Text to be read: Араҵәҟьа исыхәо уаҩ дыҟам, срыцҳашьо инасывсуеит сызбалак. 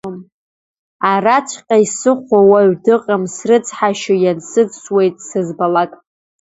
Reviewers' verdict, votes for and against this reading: rejected, 0, 2